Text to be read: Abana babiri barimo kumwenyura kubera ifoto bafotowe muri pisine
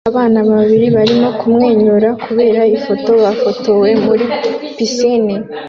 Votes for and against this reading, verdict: 2, 0, accepted